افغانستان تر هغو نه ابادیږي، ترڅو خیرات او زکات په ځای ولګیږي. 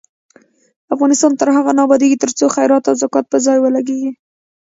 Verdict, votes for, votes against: rejected, 1, 2